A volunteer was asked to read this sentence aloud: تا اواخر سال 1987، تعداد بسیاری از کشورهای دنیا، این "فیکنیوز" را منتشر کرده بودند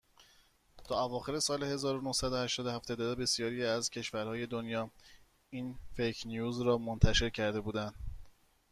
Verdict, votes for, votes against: rejected, 0, 2